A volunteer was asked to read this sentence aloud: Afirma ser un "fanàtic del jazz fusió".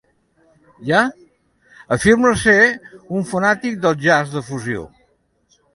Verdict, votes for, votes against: rejected, 0, 2